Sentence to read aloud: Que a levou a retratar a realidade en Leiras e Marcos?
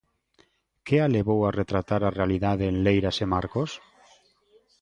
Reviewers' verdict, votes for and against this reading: accepted, 2, 0